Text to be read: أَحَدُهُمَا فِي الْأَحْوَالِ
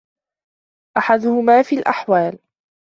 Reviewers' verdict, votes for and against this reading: accepted, 2, 0